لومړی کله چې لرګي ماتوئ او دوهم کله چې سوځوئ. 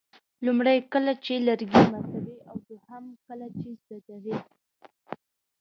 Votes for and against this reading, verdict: 1, 2, rejected